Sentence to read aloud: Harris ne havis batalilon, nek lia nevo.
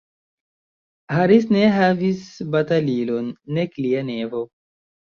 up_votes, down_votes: 1, 2